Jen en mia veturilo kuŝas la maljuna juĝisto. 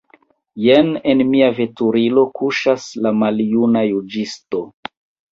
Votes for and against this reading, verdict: 1, 2, rejected